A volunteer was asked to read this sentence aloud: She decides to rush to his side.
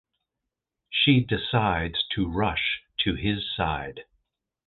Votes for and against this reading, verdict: 2, 0, accepted